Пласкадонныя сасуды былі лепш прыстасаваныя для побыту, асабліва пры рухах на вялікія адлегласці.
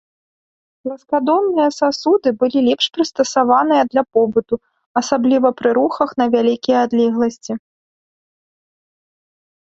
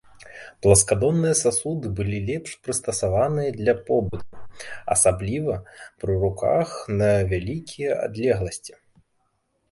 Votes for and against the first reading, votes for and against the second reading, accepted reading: 2, 0, 0, 2, first